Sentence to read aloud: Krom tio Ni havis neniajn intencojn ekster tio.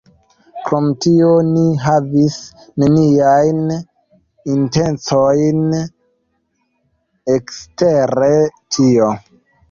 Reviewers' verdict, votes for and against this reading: rejected, 2, 3